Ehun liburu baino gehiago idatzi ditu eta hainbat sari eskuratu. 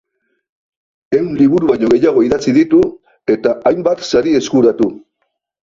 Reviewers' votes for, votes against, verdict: 2, 0, accepted